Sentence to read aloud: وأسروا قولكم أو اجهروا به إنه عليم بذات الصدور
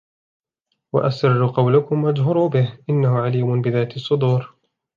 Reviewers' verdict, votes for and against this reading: accepted, 2, 1